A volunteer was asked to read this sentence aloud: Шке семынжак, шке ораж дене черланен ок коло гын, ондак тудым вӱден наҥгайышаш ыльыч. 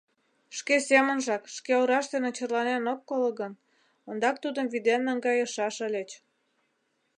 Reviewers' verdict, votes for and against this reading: accepted, 2, 0